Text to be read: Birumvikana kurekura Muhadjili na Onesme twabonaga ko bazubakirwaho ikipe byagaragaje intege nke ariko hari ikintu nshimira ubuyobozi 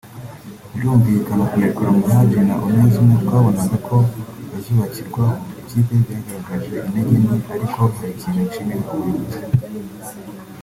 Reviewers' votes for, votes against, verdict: 2, 1, accepted